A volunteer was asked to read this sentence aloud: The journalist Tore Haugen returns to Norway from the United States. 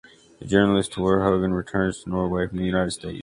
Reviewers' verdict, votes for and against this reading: rejected, 1, 2